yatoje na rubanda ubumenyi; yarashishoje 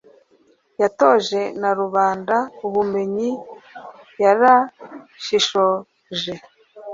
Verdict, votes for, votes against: accepted, 2, 0